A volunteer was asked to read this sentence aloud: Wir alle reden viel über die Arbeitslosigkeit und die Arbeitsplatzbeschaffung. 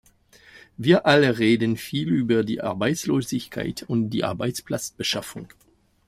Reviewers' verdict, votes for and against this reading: accepted, 2, 1